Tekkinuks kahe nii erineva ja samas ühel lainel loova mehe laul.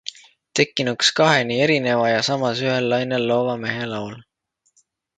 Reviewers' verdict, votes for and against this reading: accepted, 2, 0